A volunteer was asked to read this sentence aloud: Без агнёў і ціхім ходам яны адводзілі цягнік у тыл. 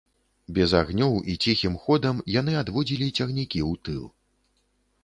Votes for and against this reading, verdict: 1, 2, rejected